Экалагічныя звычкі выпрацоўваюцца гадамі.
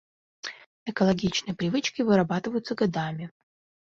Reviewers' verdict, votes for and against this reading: rejected, 0, 2